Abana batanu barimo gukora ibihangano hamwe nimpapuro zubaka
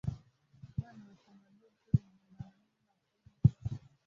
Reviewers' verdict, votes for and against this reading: rejected, 0, 2